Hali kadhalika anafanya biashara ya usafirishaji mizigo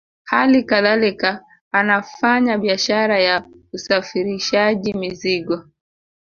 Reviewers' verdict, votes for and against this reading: accepted, 2, 0